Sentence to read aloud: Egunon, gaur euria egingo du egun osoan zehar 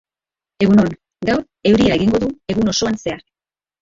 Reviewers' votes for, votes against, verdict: 2, 1, accepted